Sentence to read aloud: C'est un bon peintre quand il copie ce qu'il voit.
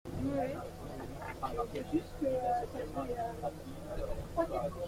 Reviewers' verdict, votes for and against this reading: rejected, 0, 2